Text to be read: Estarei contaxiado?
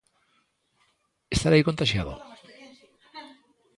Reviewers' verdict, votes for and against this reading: rejected, 1, 2